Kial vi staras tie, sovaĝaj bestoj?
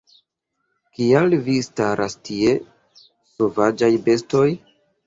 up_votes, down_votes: 2, 0